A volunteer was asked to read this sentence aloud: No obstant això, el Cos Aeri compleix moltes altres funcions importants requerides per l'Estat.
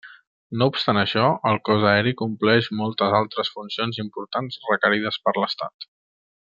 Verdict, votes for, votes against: accepted, 3, 0